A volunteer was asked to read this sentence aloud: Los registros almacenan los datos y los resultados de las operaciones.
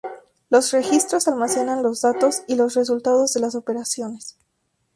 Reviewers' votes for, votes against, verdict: 0, 2, rejected